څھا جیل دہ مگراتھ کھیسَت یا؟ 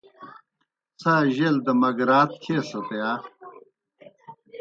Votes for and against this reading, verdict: 2, 0, accepted